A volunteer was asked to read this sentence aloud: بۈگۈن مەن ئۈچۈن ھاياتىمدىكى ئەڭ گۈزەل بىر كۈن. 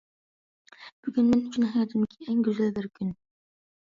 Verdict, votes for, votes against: rejected, 1, 2